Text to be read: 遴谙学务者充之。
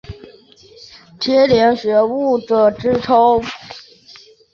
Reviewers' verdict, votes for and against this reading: rejected, 0, 2